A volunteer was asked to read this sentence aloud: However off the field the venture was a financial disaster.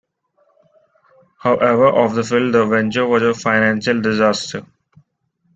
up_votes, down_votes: 0, 2